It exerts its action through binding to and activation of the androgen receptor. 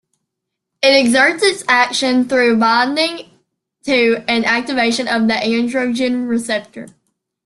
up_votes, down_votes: 2, 0